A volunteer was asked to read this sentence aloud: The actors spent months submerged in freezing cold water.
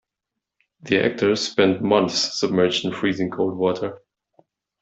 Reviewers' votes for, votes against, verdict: 2, 0, accepted